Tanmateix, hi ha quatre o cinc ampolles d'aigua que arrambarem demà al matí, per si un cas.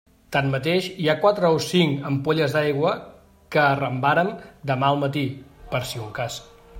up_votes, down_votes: 1, 2